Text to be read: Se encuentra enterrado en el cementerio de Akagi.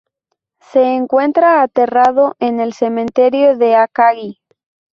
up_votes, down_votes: 0, 2